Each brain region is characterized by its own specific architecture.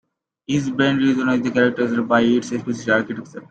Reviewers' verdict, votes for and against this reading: rejected, 0, 2